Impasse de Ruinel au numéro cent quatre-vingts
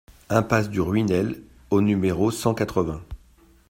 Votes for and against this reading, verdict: 1, 2, rejected